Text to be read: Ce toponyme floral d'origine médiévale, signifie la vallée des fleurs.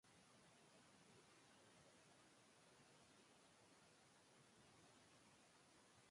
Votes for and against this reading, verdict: 0, 2, rejected